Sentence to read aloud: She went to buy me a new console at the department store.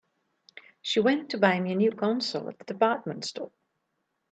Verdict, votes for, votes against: rejected, 1, 2